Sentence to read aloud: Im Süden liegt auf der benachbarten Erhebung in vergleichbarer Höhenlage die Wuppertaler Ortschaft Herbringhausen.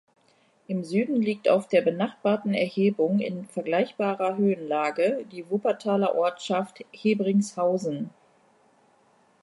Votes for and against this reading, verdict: 0, 2, rejected